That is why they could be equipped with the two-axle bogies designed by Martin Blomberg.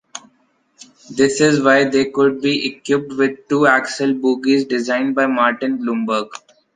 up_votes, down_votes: 0, 2